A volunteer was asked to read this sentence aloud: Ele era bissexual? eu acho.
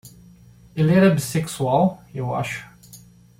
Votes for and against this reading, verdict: 2, 0, accepted